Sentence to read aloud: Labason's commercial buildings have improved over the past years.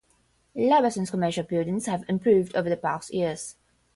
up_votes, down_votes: 0, 5